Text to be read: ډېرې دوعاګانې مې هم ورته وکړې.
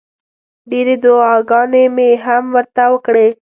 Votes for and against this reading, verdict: 2, 0, accepted